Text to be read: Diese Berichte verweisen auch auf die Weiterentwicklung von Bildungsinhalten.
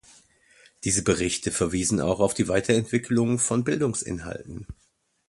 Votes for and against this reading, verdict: 1, 2, rejected